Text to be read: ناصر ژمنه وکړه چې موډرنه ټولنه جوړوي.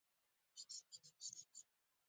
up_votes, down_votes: 2, 1